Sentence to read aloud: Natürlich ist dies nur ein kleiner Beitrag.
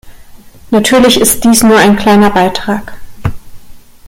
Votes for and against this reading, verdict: 2, 0, accepted